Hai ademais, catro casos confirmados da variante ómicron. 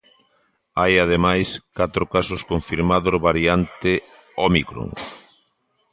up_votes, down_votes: 0, 2